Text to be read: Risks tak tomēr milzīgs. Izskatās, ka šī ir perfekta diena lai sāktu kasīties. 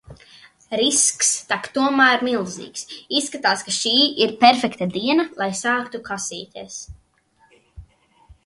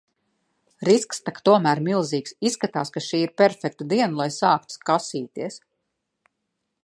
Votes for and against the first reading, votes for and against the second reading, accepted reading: 2, 0, 0, 2, first